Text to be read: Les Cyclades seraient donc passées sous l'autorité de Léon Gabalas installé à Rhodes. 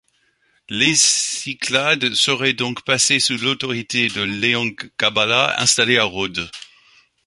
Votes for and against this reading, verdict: 0, 2, rejected